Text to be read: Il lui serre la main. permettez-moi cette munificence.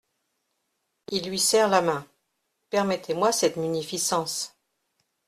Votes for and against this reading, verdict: 2, 0, accepted